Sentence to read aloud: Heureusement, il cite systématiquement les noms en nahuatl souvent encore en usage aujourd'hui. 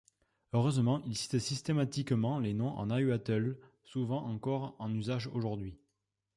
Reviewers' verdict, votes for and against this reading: accepted, 2, 0